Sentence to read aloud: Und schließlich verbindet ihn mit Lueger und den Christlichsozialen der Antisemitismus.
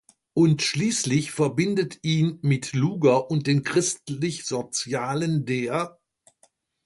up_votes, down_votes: 0, 2